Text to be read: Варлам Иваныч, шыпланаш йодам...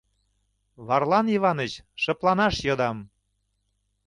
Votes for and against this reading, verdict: 2, 0, accepted